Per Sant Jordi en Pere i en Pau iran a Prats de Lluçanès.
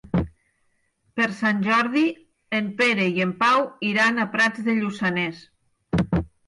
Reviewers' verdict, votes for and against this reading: accepted, 6, 0